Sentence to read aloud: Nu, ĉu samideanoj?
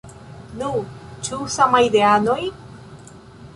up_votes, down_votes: 0, 2